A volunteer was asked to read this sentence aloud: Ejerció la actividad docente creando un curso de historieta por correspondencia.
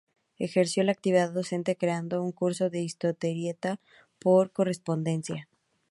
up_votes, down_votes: 0, 4